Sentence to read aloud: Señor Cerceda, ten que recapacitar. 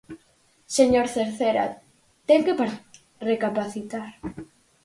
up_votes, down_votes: 0, 4